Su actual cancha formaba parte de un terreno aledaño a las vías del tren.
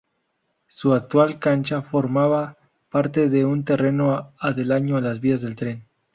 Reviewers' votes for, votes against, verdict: 0, 2, rejected